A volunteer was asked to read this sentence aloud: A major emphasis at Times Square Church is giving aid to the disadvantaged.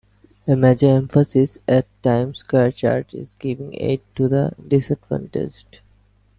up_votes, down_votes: 2, 1